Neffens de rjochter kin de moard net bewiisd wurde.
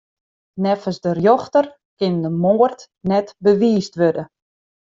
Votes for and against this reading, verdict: 2, 0, accepted